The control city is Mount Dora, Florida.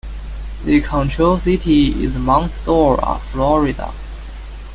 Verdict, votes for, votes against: accepted, 2, 0